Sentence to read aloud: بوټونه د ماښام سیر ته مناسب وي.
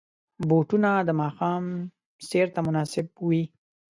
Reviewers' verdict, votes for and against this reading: accepted, 2, 0